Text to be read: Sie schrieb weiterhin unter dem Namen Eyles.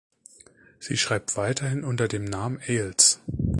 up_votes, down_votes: 0, 2